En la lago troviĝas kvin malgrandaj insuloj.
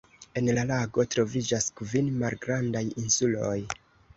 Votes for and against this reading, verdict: 0, 2, rejected